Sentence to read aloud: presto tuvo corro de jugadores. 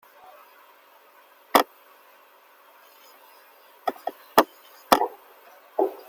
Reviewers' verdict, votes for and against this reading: rejected, 0, 2